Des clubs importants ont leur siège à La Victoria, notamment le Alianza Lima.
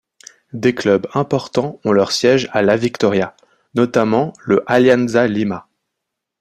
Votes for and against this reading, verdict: 2, 0, accepted